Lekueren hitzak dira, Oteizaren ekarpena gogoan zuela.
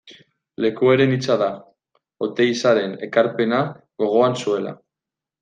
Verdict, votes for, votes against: rejected, 0, 2